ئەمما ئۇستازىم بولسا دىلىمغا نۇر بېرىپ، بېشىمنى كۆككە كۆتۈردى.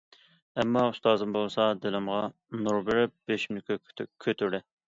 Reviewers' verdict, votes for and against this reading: accepted, 2, 0